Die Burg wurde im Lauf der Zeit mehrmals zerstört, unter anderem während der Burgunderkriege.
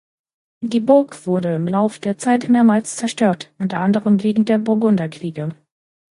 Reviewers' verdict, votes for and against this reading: rejected, 0, 2